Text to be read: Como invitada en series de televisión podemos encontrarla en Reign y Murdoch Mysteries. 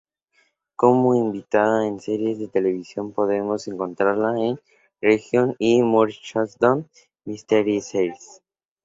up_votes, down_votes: 2, 0